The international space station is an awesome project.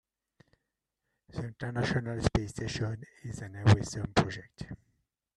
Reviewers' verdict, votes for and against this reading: rejected, 1, 2